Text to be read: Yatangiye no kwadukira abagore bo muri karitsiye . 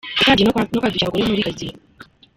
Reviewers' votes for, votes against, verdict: 0, 3, rejected